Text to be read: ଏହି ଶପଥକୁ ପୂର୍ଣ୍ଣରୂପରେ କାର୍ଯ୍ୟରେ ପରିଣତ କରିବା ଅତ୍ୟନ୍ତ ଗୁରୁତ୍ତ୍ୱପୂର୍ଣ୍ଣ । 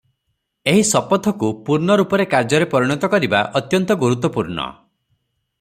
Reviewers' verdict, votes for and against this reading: accepted, 3, 0